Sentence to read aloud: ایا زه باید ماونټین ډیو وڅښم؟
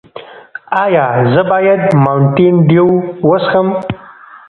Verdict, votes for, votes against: rejected, 1, 2